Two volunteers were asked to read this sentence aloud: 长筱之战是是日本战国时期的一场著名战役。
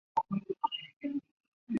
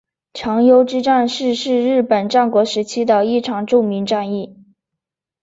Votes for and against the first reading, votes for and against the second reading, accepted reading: 1, 3, 2, 0, second